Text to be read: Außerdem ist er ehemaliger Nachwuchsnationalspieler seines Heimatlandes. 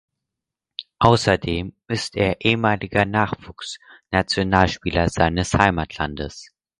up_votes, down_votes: 4, 0